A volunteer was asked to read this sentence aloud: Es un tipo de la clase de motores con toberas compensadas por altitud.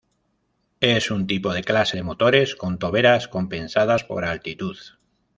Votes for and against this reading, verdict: 1, 2, rejected